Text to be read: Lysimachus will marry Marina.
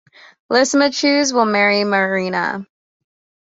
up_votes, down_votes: 2, 0